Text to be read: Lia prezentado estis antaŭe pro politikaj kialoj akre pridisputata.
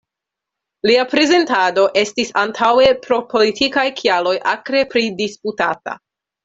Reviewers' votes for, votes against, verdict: 2, 0, accepted